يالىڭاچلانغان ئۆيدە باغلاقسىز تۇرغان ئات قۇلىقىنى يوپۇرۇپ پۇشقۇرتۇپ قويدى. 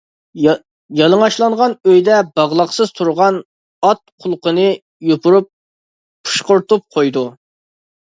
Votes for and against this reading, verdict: 0, 2, rejected